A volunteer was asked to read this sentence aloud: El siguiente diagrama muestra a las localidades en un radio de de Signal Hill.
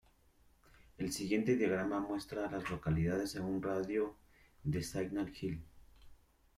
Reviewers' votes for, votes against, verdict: 0, 2, rejected